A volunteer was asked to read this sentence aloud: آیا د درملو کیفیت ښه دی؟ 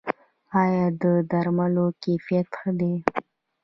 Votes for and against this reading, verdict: 1, 2, rejected